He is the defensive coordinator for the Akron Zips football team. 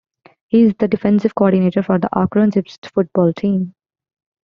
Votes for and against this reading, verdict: 2, 0, accepted